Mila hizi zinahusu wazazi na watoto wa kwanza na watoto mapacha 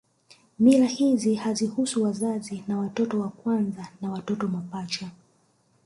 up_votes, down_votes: 1, 2